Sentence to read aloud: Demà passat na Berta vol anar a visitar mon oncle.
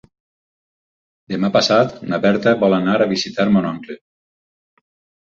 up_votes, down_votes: 6, 2